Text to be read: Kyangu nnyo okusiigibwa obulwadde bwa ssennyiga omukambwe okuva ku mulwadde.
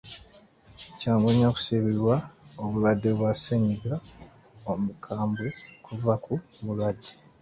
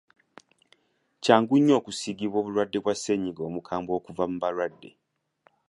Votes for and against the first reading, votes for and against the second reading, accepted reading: 2, 1, 0, 2, first